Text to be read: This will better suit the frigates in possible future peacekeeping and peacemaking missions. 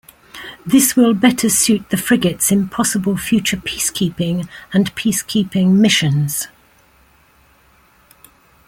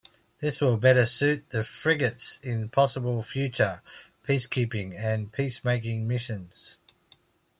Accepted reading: second